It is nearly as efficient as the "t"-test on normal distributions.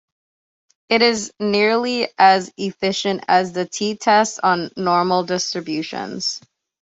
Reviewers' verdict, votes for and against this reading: accepted, 2, 0